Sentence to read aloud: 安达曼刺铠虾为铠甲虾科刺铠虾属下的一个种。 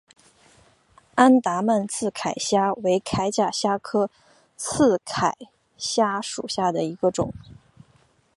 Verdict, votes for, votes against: accepted, 3, 0